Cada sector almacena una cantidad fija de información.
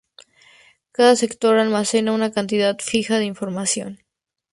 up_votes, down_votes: 2, 0